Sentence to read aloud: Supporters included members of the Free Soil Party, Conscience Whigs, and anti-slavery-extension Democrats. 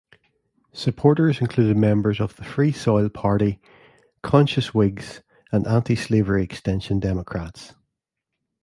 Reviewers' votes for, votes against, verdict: 1, 2, rejected